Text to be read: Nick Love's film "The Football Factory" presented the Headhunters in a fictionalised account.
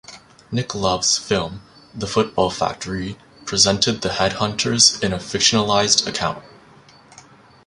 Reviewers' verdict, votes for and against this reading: accepted, 2, 0